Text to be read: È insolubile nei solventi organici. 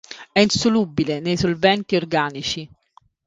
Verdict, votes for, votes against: accepted, 2, 1